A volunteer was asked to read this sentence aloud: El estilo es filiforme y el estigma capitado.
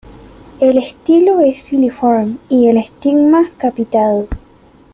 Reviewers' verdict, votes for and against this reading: rejected, 0, 2